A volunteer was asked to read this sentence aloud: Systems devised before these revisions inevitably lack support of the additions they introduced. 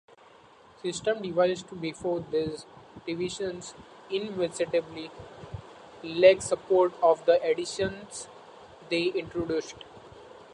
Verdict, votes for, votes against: rejected, 0, 2